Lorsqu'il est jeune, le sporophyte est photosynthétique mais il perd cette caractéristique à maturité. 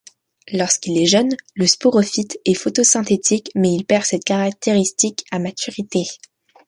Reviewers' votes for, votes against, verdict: 2, 0, accepted